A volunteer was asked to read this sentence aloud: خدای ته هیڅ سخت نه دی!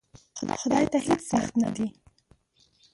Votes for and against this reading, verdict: 0, 2, rejected